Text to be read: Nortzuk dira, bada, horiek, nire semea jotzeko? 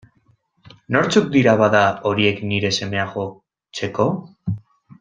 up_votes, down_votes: 0, 2